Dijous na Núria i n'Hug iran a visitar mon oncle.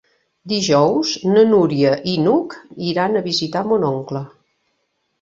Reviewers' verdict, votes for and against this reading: accepted, 3, 0